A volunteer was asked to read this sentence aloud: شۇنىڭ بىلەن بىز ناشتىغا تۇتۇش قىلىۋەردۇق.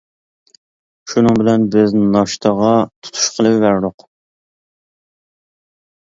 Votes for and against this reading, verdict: 2, 1, accepted